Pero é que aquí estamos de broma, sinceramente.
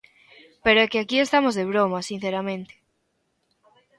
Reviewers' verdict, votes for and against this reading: accepted, 2, 0